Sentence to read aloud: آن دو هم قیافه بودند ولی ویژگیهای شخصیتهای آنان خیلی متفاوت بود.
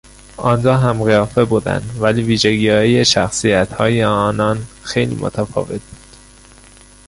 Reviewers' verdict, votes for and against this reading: rejected, 0, 2